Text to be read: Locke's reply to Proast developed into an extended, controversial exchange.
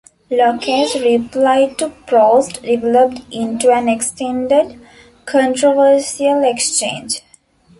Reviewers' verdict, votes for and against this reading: rejected, 1, 2